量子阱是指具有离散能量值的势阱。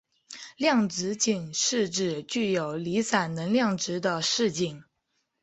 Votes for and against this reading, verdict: 3, 0, accepted